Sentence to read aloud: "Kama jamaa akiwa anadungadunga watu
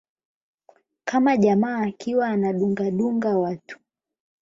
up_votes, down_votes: 4, 8